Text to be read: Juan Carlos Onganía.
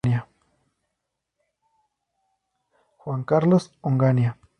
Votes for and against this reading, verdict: 0, 4, rejected